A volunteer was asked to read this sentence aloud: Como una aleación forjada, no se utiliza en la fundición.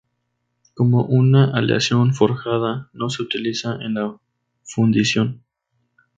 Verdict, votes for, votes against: rejected, 0, 2